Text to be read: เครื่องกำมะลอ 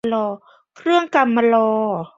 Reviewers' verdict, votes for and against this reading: accepted, 2, 1